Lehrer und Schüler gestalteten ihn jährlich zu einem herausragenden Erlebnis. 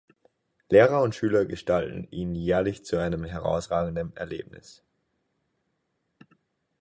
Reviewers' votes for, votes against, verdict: 2, 4, rejected